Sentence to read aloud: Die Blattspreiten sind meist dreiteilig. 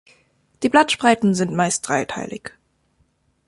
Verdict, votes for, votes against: accepted, 2, 0